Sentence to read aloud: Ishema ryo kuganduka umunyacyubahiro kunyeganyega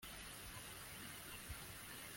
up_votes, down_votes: 0, 2